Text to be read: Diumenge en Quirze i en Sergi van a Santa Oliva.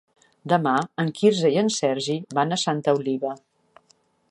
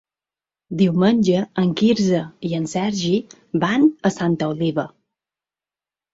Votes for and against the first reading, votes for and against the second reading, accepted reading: 1, 2, 4, 0, second